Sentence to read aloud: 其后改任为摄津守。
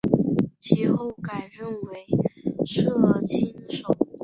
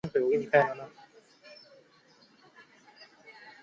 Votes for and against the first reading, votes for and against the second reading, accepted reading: 3, 0, 0, 2, first